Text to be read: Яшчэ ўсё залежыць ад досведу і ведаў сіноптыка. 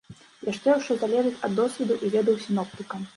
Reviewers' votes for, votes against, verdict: 0, 2, rejected